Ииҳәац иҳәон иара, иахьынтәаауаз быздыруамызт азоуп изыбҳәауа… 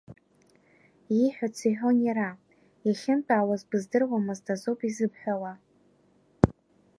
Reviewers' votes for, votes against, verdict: 2, 0, accepted